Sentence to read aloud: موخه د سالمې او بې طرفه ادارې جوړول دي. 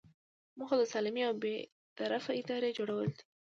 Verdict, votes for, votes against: accepted, 2, 1